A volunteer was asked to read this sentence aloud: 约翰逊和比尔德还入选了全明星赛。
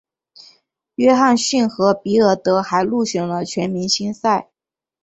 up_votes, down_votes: 3, 0